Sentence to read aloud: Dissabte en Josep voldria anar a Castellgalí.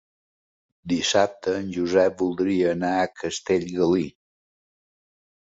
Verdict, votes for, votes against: accepted, 4, 0